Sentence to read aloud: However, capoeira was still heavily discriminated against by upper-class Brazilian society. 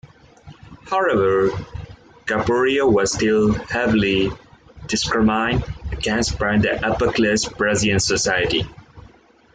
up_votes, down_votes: 0, 2